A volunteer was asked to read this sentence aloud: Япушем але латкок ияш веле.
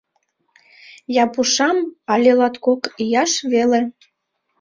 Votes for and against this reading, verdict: 0, 2, rejected